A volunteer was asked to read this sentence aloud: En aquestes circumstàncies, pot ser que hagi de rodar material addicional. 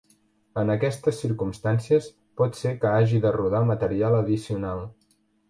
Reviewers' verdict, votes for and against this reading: accepted, 3, 0